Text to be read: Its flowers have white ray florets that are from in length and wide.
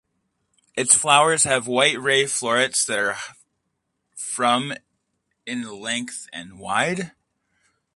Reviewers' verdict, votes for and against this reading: rejected, 0, 2